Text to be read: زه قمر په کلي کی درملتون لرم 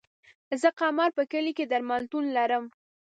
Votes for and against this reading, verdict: 2, 0, accepted